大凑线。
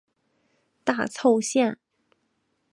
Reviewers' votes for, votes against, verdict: 5, 0, accepted